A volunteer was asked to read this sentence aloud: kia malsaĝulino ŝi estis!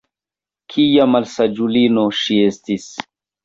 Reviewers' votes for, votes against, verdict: 2, 1, accepted